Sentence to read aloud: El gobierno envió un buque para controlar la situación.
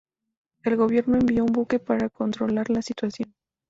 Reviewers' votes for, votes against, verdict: 2, 0, accepted